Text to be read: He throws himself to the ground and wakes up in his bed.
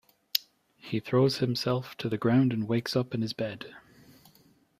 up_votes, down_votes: 3, 0